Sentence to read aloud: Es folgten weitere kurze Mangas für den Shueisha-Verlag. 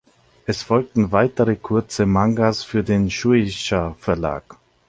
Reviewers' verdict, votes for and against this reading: accepted, 2, 0